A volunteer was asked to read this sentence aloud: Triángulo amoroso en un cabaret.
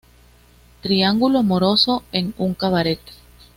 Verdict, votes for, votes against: accepted, 2, 0